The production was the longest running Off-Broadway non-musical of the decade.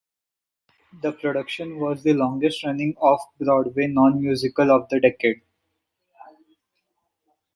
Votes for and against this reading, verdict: 2, 0, accepted